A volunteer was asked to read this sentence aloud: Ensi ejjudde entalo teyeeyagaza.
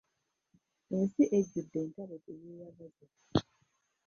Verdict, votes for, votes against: rejected, 0, 2